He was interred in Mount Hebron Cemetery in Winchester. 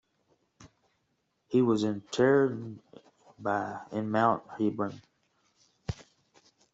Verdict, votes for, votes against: rejected, 1, 2